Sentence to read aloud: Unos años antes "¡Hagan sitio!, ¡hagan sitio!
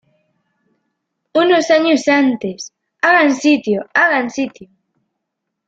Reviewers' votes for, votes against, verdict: 1, 2, rejected